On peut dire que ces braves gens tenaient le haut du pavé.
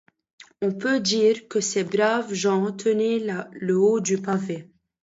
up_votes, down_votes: 0, 2